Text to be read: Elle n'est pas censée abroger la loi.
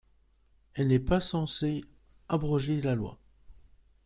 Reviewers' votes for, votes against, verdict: 2, 0, accepted